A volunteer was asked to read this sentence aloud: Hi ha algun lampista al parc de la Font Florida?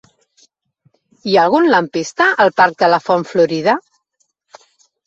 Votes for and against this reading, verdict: 4, 0, accepted